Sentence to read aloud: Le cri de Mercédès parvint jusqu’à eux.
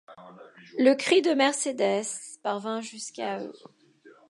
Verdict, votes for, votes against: rejected, 1, 2